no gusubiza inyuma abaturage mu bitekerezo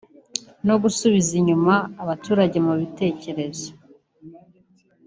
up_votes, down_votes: 2, 0